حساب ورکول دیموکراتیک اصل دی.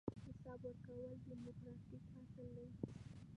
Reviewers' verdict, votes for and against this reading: rejected, 1, 2